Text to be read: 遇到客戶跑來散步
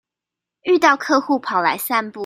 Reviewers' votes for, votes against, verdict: 2, 0, accepted